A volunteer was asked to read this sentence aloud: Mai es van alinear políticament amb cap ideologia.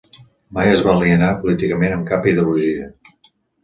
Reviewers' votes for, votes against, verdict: 1, 2, rejected